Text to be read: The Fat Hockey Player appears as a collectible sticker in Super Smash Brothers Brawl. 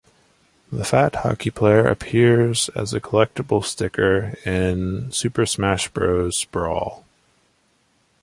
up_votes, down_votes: 1, 2